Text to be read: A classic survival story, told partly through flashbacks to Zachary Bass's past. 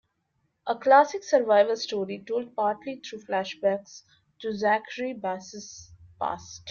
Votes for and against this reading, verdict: 3, 0, accepted